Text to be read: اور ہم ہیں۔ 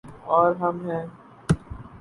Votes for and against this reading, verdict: 0, 2, rejected